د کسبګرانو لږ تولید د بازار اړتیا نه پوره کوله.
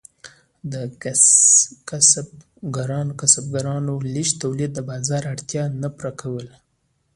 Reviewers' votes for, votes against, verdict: 0, 2, rejected